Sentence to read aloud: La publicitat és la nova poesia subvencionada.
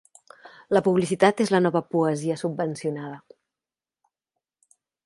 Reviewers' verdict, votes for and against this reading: accepted, 3, 0